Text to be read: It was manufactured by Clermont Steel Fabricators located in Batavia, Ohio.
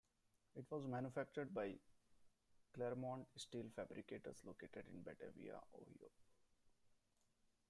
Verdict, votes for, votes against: accepted, 2, 1